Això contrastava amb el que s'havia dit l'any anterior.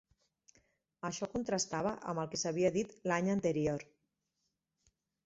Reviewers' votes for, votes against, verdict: 6, 0, accepted